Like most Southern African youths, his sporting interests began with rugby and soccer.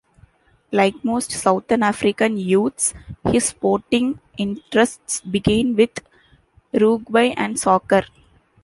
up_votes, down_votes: 2, 0